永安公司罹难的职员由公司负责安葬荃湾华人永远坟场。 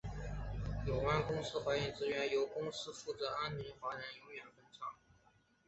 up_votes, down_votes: 5, 1